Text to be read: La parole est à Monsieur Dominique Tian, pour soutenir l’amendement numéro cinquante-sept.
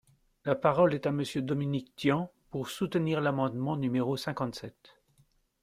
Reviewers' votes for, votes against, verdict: 2, 0, accepted